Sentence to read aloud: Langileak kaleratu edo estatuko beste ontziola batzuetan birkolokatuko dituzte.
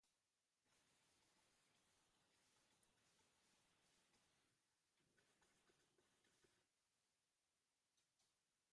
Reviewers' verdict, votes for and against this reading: rejected, 0, 2